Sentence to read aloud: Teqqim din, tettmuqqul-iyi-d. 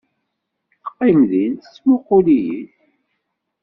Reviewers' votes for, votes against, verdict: 2, 0, accepted